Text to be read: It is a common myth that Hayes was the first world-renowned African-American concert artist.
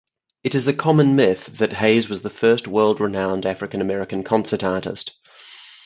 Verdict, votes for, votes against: accepted, 4, 0